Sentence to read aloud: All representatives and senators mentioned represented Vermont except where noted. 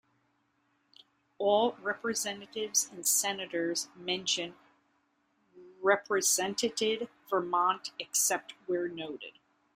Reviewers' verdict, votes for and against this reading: rejected, 0, 2